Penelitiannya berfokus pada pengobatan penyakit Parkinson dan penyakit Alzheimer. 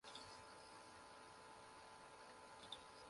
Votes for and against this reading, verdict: 0, 2, rejected